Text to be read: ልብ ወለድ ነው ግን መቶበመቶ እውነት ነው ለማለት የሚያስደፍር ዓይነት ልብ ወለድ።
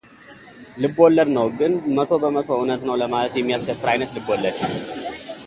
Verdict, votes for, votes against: accepted, 2, 0